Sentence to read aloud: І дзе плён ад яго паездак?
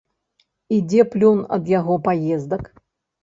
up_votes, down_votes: 2, 0